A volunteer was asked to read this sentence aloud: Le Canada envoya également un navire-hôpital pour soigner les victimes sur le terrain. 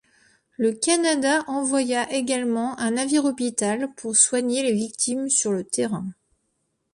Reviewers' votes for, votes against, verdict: 3, 1, accepted